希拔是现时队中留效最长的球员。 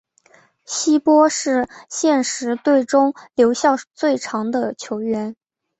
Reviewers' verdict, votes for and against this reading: accepted, 3, 0